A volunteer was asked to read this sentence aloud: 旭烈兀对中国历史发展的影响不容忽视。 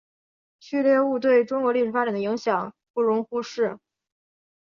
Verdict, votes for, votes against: rejected, 0, 2